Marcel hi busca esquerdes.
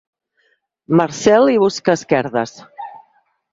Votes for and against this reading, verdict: 4, 2, accepted